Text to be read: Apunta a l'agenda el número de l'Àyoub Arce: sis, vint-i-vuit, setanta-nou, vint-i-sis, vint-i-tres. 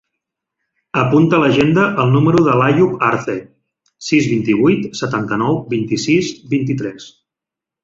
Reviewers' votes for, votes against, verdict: 2, 0, accepted